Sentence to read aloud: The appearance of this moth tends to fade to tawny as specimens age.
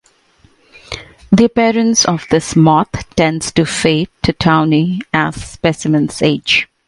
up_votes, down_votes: 2, 0